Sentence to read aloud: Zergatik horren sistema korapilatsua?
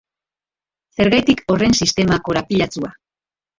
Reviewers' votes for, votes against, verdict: 1, 3, rejected